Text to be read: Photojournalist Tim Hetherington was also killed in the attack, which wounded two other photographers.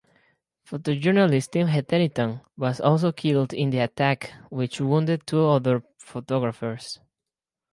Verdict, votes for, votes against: accepted, 4, 0